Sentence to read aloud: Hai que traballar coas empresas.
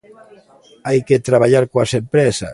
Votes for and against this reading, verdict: 2, 0, accepted